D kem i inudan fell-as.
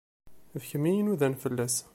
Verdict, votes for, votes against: accepted, 2, 0